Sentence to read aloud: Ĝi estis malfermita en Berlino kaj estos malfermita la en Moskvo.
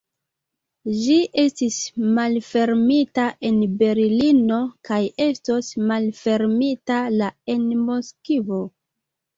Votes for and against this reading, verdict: 2, 0, accepted